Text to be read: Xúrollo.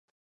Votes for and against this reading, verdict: 0, 4, rejected